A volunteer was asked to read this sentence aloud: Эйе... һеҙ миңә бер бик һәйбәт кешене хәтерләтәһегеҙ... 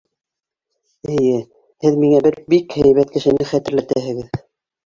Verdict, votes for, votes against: rejected, 0, 2